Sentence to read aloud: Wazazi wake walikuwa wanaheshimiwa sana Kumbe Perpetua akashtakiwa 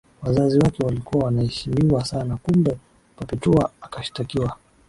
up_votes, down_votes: 2, 0